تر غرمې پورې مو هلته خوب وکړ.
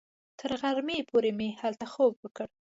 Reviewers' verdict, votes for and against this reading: accepted, 2, 0